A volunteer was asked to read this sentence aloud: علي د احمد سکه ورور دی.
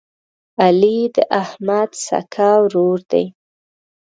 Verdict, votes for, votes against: accepted, 2, 0